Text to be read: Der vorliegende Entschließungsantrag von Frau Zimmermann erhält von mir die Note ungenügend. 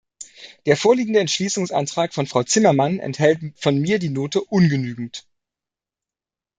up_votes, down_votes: 2, 1